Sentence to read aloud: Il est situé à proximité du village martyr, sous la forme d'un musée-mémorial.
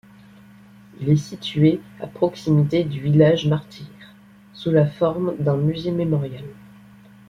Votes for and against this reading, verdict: 2, 0, accepted